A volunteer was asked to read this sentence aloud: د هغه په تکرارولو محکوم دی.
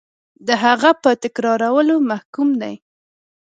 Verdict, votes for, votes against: accepted, 2, 0